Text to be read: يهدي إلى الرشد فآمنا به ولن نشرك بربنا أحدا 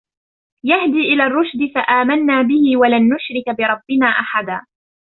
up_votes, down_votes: 2, 1